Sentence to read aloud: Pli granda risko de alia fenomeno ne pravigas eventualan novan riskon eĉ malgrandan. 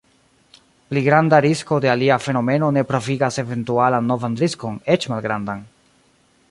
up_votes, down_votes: 2, 0